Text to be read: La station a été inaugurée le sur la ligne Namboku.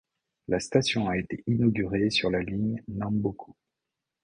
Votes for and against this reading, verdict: 1, 2, rejected